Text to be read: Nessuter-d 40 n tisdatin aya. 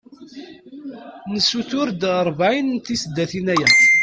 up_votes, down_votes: 0, 2